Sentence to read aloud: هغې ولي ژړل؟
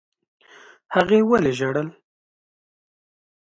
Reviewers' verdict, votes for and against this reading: accepted, 2, 0